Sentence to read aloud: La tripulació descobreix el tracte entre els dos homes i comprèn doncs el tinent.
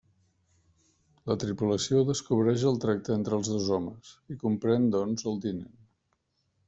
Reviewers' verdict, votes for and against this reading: accepted, 3, 0